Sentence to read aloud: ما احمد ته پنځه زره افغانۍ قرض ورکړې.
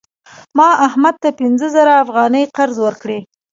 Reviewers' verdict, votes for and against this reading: accepted, 3, 0